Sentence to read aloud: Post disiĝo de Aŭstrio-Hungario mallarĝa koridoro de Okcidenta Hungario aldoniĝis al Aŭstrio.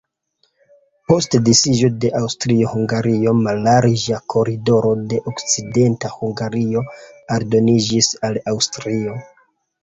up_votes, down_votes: 2, 0